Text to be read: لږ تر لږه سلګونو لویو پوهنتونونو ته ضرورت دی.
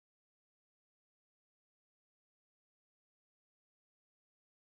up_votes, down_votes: 0, 2